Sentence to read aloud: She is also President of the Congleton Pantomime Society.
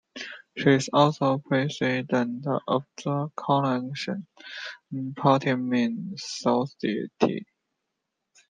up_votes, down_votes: 0, 2